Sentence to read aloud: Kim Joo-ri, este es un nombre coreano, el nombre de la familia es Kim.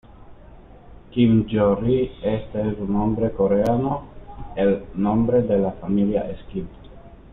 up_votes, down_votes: 2, 1